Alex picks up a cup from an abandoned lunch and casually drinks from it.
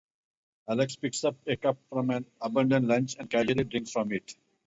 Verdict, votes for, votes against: rejected, 2, 2